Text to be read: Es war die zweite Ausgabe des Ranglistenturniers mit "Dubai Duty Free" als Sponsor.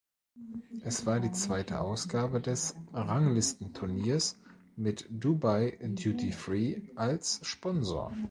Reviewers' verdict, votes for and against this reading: accepted, 2, 0